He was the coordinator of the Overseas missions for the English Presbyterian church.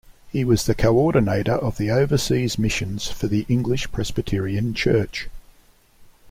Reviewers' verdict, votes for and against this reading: accepted, 2, 0